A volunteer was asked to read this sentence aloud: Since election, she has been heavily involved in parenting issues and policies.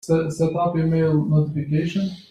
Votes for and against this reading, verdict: 0, 2, rejected